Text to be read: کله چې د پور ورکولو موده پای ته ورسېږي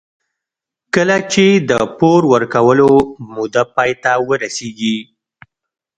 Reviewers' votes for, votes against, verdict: 1, 2, rejected